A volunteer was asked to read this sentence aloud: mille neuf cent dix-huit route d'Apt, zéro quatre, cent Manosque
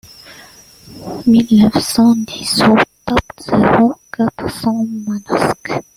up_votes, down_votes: 0, 3